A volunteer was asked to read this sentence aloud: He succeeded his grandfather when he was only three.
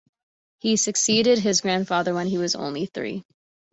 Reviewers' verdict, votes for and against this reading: accepted, 2, 0